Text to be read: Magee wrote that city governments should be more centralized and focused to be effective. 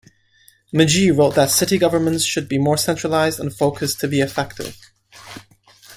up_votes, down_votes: 2, 0